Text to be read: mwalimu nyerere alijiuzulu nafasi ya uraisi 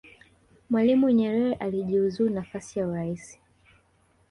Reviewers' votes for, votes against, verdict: 1, 2, rejected